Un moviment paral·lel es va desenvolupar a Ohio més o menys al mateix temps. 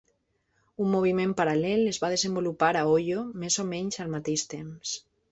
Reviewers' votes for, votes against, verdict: 0, 2, rejected